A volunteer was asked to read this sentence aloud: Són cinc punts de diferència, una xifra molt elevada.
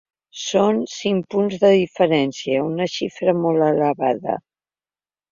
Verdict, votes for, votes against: accepted, 4, 0